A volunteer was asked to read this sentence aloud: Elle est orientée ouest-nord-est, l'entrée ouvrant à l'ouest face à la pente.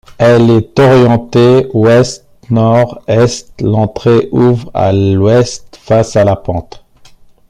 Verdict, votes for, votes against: rejected, 0, 2